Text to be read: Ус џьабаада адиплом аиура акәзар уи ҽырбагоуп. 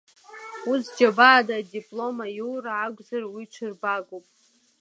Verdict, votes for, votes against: rejected, 1, 2